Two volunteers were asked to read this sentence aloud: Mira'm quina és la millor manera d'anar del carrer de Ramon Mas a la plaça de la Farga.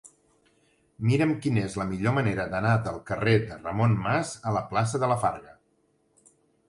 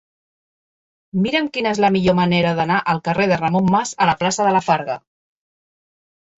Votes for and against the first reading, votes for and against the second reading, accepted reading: 3, 0, 1, 2, first